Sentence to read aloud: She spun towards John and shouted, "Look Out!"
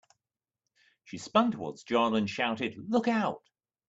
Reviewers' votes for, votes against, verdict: 2, 0, accepted